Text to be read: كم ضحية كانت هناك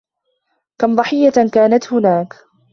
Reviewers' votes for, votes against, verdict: 2, 0, accepted